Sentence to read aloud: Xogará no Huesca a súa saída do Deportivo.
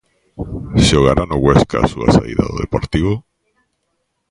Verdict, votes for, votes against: accepted, 2, 0